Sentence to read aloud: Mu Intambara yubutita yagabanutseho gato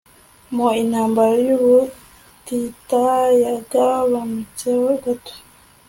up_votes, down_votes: 2, 1